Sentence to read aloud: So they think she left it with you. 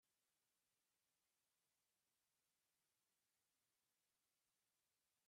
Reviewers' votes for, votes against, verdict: 0, 2, rejected